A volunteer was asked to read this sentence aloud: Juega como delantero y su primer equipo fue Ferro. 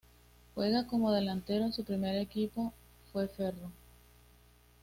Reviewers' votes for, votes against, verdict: 2, 0, accepted